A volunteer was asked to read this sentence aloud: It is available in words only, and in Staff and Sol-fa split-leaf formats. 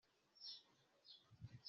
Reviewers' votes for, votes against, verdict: 0, 2, rejected